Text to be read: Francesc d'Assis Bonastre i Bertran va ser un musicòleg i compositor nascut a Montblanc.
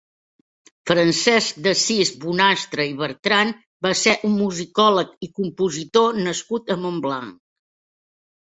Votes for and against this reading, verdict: 2, 0, accepted